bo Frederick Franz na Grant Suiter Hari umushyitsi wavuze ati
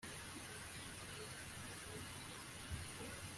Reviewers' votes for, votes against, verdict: 1, 3, rejected